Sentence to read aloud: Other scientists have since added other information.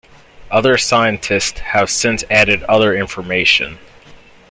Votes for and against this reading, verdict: 0, 2, rejected